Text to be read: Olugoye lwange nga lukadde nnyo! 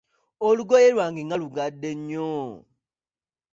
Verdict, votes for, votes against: rejected, 0, 2